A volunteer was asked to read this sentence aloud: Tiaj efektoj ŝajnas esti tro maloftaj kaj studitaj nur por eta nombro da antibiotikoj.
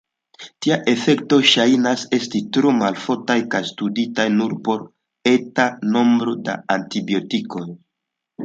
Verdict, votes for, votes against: accepted, 2, 0